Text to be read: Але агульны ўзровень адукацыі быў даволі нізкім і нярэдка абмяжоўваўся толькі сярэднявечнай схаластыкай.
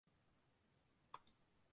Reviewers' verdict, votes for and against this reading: accepted, 2, 1